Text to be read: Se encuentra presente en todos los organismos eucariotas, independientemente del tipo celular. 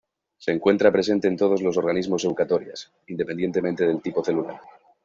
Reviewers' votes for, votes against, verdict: 0, 2, rejected